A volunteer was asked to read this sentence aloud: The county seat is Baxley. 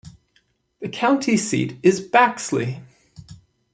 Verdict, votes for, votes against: accepted, 2, 0